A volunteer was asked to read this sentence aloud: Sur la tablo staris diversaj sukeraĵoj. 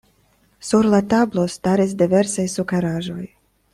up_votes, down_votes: 2, 0